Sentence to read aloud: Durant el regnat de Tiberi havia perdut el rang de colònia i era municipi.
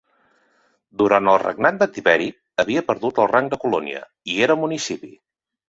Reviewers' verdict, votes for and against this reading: accepted, 3, 0